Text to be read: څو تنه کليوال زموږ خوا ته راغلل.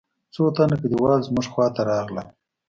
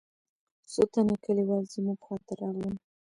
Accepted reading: first